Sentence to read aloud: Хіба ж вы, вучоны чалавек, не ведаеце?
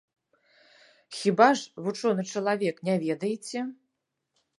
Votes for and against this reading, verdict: 0, 3, rejected